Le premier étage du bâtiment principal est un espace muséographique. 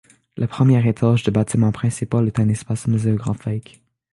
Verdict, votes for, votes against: rejected, 1, 2